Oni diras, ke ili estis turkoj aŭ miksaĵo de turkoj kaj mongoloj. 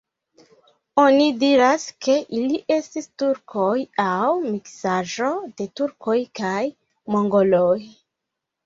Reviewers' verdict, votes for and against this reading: accepted, 3, 1